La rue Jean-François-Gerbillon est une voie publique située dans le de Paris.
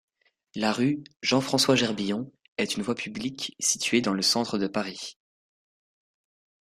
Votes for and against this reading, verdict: 1, 2, rejected